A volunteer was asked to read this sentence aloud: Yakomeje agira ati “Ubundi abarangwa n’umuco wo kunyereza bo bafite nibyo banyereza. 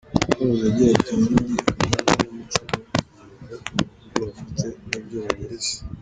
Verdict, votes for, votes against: rejected, 1, 2